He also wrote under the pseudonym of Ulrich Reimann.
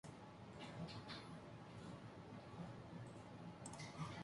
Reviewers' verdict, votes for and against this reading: rejected, 0, 2